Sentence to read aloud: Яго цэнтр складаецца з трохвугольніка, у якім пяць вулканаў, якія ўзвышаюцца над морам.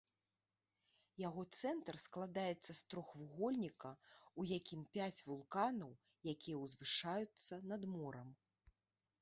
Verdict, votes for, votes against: accepted, 2, 1